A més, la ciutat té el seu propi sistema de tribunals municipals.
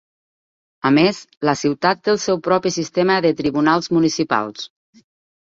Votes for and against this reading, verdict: 5, 0, accepted